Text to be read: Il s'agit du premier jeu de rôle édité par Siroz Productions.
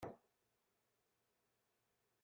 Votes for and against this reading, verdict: 0, 2, rejected